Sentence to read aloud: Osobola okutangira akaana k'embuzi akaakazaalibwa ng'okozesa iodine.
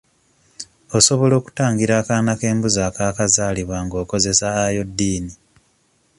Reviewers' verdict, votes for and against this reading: accepted, 2, 0